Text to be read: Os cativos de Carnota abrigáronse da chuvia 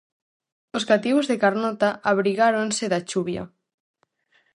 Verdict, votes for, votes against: rejected, 2, 2